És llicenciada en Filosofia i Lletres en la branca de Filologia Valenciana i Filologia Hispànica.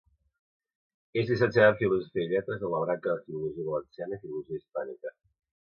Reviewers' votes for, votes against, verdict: 0, 2, rejected